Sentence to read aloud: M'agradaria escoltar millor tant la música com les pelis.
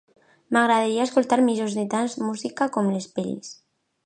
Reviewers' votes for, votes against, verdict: 0, 2, rejected